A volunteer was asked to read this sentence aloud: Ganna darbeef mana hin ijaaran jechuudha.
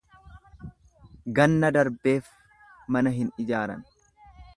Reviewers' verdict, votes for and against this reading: rejected, 1, 2